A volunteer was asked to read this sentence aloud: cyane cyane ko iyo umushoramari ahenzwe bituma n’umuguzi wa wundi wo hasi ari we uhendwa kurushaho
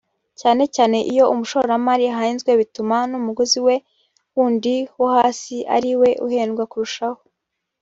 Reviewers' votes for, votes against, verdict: 1, 2, rejected